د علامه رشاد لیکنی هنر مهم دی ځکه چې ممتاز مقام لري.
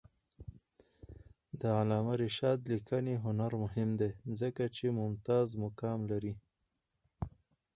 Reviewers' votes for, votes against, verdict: 4, 0, accepted